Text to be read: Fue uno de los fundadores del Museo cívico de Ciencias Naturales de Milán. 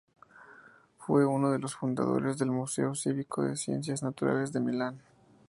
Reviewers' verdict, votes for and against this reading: accepted, 2, 0